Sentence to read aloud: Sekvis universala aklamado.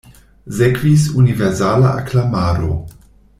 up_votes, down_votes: 1, 2